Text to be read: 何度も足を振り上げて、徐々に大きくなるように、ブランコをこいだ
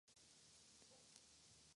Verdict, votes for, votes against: rejected, 0, 2